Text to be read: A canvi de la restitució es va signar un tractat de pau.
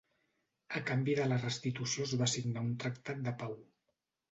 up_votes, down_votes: 2, 0